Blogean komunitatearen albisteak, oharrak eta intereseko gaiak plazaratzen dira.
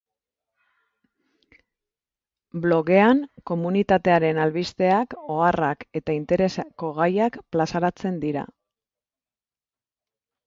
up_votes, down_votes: 2, 4